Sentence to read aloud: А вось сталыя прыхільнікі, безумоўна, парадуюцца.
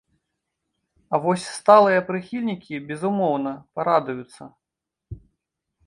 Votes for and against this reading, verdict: 2, 0, accepted